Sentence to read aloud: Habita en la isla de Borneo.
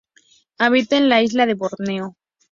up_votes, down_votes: 4, 0